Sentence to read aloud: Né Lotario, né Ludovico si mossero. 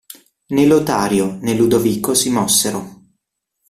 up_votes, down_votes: 2, 0